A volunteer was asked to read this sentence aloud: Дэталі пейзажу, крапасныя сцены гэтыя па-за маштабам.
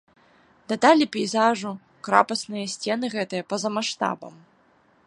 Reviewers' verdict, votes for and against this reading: rejected, 1, 2